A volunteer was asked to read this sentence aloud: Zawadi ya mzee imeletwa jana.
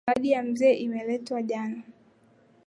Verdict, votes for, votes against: accepted, 3, 0